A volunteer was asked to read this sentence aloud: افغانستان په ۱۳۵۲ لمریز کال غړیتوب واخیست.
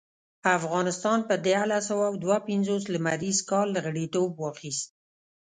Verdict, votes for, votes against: rejected, 0, 2